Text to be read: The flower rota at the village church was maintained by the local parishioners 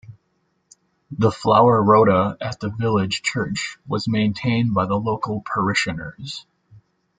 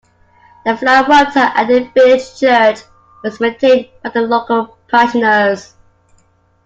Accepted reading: first